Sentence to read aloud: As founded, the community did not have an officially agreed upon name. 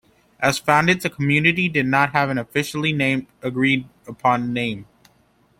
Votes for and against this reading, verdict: 1, 2, rejected